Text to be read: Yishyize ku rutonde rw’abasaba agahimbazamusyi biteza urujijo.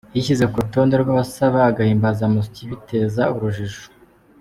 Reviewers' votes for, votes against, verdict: 2, 0, accepted